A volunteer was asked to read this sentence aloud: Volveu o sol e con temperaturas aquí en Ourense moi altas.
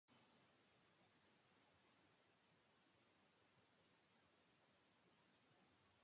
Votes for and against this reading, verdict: 0, 2, rejected